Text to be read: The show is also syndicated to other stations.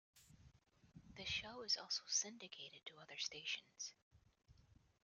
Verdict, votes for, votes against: accepted, 2, 0